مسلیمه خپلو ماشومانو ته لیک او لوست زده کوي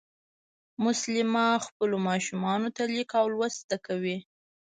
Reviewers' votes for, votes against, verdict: 2, 0, accepted